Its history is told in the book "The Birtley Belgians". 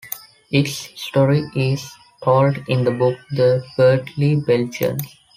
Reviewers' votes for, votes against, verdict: 0, 2, rejected